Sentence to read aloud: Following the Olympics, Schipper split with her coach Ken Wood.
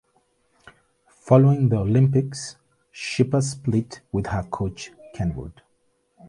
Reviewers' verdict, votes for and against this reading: accepted, 2, 0